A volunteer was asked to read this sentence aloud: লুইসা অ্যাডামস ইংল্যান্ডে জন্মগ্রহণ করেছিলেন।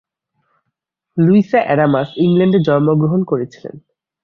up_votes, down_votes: 0, 4